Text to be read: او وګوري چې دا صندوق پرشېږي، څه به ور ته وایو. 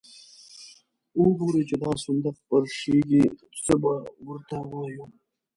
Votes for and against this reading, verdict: 2, 1, accepted